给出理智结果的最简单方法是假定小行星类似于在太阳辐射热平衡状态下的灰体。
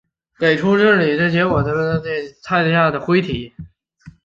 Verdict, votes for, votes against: rejected, 0, 2